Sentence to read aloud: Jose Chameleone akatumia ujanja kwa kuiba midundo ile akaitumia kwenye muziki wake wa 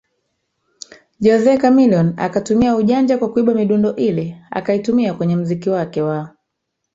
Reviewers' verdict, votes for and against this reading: accepted, 3, 2